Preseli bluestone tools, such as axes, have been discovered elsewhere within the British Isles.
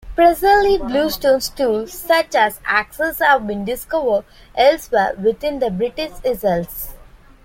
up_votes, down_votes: 1, 2